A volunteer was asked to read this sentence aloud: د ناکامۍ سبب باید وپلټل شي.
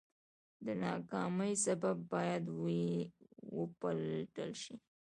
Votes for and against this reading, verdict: 1, 2, rejected